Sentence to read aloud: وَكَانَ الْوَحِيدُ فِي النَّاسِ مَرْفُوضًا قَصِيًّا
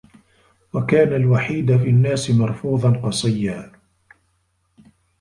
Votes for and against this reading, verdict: 1, 2, rejected